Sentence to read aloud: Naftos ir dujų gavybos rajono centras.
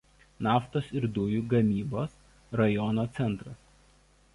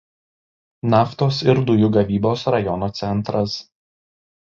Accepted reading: second